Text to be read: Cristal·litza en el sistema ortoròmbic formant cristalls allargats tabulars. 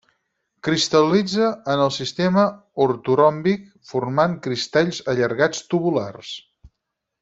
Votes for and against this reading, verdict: 0, 4, rejected